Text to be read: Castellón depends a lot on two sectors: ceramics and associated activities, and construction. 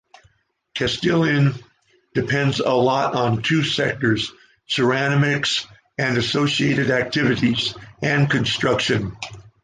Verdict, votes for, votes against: accepted, 2, 1